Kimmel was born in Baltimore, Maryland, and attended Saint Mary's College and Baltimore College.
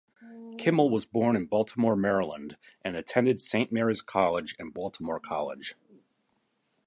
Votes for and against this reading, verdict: 2, 0, accepted